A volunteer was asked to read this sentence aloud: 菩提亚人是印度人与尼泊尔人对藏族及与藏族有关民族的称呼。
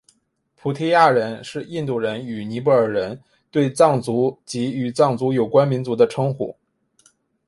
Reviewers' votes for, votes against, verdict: 5, 0, accepted